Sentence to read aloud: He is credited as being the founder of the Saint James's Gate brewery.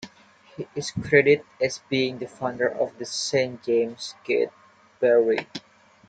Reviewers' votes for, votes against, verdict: 0, 2, rejected